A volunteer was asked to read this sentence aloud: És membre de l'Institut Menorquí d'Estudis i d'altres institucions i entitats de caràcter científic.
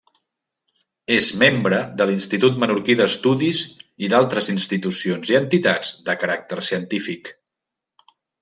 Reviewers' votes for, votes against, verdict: 3, 0, accepted